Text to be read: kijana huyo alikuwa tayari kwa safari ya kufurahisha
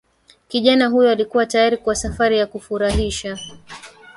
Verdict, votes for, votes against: rejected, 1, 2